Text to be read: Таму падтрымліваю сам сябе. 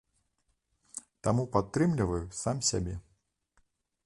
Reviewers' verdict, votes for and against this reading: accepted, 2, 0